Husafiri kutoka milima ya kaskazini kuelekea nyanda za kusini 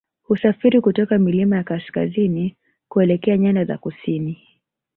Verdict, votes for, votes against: rejected, 1, 2